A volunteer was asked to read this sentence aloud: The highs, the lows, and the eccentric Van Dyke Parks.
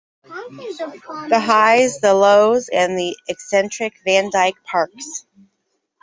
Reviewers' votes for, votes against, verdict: 0, 2, rejected